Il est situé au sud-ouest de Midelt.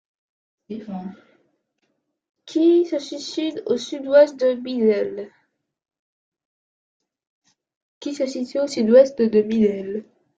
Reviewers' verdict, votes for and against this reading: rejected, 0, 2